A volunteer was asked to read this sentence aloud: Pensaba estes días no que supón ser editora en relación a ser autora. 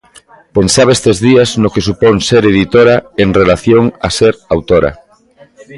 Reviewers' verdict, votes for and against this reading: accepted, 2, 0